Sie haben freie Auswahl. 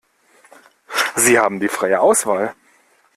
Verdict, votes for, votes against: rejected, 1, 2